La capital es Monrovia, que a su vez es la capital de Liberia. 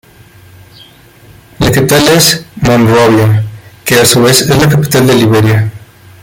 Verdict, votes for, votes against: rejected, 0, 2